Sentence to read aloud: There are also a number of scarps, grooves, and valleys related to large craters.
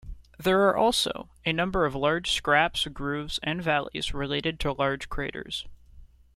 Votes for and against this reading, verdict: 0, 2, rejected